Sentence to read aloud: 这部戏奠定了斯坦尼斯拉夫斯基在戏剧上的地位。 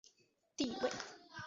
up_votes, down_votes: 0, 2